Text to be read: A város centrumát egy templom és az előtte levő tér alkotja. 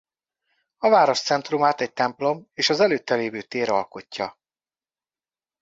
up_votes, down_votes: 1, 2